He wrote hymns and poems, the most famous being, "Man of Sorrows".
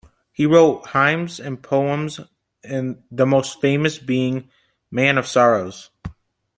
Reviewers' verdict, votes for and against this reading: rejected, 0, 2